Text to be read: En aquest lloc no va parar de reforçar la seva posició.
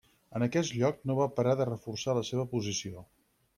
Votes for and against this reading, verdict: 6, 2, accepted